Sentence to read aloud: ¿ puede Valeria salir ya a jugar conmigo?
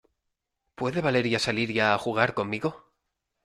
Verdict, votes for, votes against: accepted, 2, 0